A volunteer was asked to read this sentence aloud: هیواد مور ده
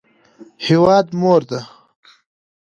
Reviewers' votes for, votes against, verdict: 2, 0, accepted